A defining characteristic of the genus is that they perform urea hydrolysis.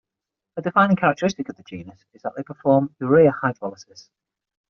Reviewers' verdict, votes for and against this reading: accepted, 6, 0